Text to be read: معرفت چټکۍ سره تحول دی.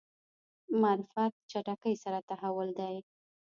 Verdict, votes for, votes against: rejected, 0, 2